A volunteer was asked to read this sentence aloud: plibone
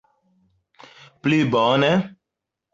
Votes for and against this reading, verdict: 2, 0, accepted